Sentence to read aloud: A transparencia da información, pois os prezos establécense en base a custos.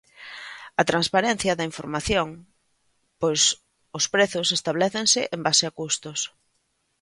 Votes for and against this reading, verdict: 2, 0, accepted